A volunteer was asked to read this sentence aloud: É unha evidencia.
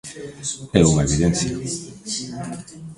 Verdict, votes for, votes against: rejected, 1, 2